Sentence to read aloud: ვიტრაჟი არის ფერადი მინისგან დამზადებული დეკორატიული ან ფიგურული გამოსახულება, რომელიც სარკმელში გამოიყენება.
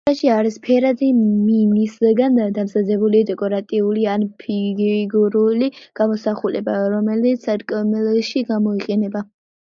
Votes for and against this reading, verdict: 0, 2, rejected